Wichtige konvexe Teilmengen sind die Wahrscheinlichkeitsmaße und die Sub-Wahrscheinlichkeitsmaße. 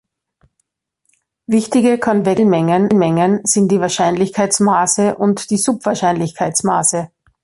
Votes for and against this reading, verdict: 0, 2, rejected